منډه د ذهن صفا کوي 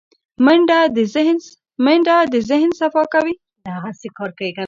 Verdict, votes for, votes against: rejected, 0, 3